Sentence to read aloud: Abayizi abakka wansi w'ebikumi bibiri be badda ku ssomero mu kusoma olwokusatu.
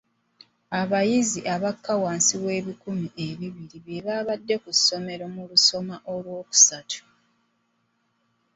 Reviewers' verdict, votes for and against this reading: accepted, 2, 0